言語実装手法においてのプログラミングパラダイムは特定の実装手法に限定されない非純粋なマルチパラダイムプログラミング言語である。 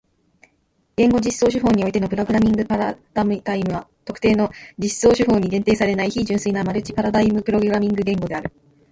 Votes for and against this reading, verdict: 2, 0, accepted